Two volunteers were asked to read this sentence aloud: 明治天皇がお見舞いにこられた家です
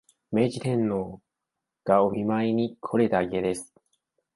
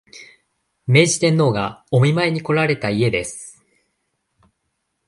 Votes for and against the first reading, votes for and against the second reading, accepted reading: 1, 2, 2, 0, second